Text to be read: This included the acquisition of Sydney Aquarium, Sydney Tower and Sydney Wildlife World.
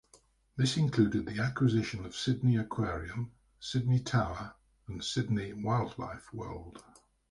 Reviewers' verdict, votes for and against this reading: accepted, 2, 0